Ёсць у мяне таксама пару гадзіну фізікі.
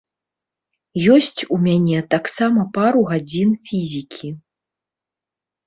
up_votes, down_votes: 0, 2